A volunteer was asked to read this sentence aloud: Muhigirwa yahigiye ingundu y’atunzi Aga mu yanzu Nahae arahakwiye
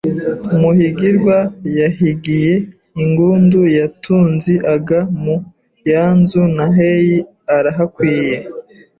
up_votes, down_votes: 2, 0